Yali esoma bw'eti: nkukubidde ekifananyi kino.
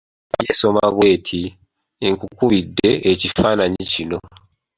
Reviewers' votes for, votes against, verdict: 1, 2, rejected